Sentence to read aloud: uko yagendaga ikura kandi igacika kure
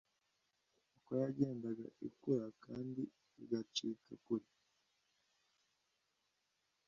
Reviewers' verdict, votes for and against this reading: accepted, 2, 0